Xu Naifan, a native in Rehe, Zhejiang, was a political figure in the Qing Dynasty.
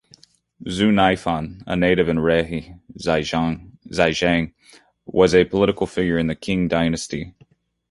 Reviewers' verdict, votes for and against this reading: rejected, 0, 2